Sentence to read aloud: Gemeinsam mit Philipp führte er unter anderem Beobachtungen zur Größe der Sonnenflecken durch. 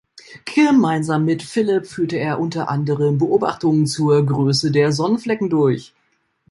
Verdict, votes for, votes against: rejected, 0, 2